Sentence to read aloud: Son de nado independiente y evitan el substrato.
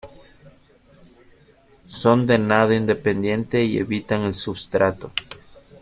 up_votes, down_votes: 2, 0